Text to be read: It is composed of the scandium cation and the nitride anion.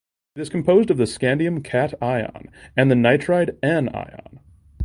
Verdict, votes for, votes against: rejected, 1, 2